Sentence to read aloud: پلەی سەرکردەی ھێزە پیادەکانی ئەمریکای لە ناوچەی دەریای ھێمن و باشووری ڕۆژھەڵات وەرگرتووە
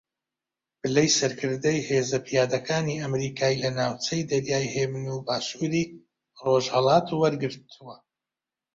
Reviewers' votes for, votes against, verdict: 2, 0, accepted